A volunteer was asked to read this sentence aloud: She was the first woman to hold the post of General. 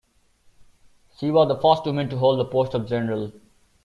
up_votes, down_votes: 1, 2